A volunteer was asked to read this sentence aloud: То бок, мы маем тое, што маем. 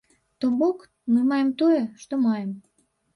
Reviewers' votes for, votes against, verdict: 2, 0, accepted